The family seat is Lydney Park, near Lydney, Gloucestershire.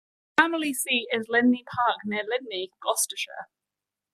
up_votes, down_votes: 2, 1